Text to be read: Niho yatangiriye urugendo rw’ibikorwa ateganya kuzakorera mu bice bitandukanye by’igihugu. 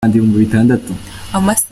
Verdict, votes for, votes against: rejected, 0, 2